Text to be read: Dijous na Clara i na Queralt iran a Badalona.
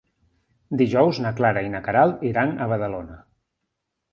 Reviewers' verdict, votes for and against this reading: accepted, 2, 0